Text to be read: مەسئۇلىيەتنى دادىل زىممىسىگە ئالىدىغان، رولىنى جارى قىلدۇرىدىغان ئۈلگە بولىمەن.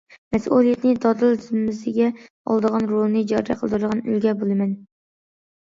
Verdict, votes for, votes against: accepted, 2, 0